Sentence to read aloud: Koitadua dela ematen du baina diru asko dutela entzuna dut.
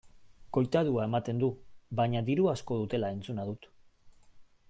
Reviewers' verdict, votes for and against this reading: rejected, 1, 2